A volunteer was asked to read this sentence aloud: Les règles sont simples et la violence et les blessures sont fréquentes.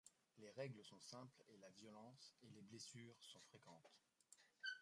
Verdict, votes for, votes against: rejected, 0, 2